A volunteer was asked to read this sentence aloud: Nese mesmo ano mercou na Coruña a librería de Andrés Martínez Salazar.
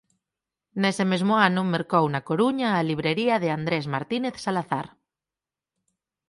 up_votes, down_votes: 4, 0